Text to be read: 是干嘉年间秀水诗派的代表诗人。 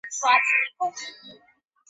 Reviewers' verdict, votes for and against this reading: rejected, 1, 2